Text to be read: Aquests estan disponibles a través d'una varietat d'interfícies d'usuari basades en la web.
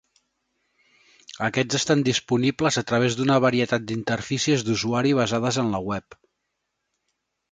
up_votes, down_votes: 4, 0